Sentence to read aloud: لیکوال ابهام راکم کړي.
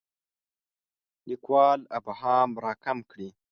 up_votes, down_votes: 2, 0